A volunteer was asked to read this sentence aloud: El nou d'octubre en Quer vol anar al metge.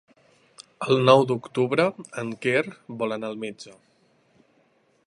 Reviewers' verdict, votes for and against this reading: accepted, 3, 0